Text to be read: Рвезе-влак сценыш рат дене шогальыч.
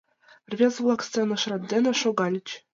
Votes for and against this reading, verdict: 2, 0, accepted